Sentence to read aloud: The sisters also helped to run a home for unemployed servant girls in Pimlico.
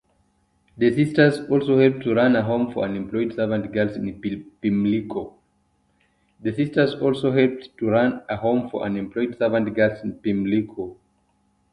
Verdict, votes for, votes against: rejected, 0, 2